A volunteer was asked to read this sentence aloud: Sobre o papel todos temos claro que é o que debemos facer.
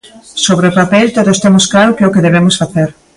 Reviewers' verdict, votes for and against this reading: accepted, 2, 0